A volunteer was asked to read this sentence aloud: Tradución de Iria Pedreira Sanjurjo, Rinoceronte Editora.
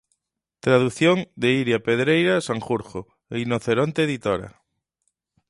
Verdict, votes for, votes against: accepted, 26, 1